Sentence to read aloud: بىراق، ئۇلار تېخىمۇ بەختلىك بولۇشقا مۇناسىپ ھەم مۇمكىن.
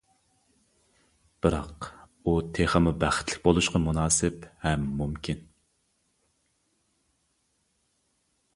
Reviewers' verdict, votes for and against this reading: rejected, 0, 2